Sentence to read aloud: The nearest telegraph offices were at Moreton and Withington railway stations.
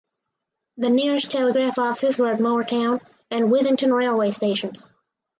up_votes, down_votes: 4, 0